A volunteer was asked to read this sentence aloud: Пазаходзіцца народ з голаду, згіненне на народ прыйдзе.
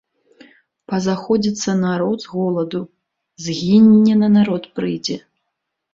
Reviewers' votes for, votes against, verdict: 1, 2, rejected